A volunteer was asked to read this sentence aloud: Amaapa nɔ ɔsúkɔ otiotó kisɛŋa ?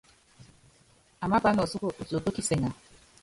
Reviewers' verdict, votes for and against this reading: rejected, 2, 2